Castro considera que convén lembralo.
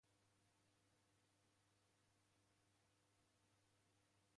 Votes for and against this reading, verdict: 0, 2, rejected